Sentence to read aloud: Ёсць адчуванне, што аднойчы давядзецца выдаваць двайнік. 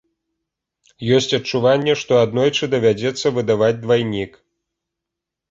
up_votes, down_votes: 3, 0